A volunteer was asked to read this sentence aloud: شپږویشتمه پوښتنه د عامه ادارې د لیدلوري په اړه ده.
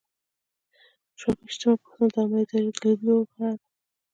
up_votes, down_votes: 0, 2